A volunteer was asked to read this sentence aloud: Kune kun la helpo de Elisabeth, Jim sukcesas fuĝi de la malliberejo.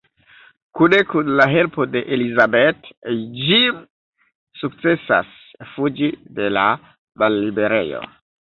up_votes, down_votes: 0, 2